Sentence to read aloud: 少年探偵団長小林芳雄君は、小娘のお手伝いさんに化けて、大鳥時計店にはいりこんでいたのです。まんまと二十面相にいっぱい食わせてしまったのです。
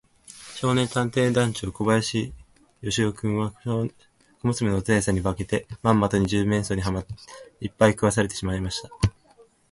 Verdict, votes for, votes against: rejected, 1, 2